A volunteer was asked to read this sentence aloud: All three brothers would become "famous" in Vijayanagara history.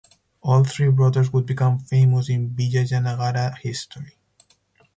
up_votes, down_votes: 2, 4